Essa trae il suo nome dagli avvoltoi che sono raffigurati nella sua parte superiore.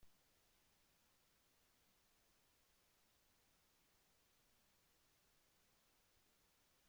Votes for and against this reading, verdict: 0, 2, rejected